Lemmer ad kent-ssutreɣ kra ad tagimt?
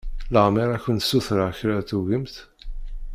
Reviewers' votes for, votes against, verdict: 1, 2, rejected